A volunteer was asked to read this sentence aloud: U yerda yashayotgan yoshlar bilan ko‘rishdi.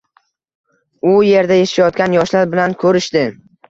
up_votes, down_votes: 2, 0